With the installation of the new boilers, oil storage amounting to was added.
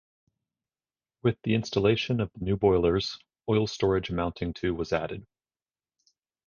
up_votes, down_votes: 2, 2